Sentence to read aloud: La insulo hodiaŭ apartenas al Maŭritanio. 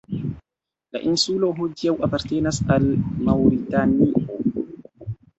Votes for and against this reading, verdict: 0, 2, rejected